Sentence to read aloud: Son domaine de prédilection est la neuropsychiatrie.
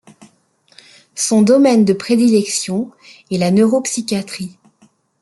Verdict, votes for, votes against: accepted, 2, 0